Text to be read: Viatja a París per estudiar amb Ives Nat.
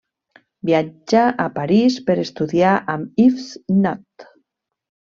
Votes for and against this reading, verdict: 2, 1, accepted